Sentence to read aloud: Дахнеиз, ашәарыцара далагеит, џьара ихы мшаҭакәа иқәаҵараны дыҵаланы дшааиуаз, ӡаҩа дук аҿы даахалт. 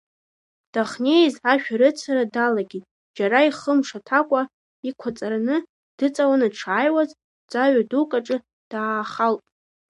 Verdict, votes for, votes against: rejected, 0, 2